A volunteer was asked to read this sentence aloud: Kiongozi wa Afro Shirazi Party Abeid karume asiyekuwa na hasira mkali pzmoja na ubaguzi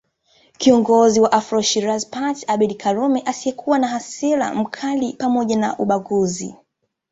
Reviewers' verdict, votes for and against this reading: accepted, 2, 0